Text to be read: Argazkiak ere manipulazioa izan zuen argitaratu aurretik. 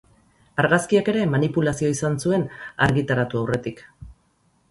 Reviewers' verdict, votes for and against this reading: accepted, 4, 0